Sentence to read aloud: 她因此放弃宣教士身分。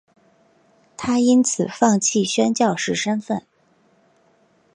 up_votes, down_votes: 9, 1